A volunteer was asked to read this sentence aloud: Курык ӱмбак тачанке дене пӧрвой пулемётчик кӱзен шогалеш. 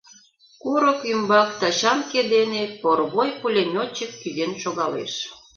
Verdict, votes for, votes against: rejected, 1, 2